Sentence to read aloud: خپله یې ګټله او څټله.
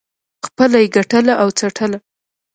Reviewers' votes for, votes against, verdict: 2, 0, accepted